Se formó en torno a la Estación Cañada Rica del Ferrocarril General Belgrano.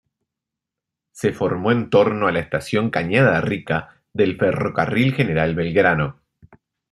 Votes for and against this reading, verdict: 2, 0, accepted